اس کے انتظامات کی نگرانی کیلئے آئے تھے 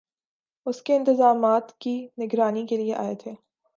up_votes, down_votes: 5, 0